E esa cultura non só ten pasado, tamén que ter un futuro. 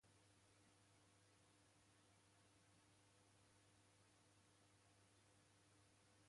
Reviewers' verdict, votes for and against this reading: rejected, 0, 2